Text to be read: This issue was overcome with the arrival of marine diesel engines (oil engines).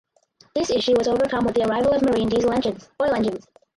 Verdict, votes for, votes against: rejected, 2, 2